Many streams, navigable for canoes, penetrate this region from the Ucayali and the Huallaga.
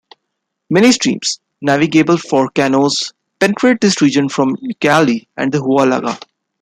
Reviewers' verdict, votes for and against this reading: accepted, 2, 0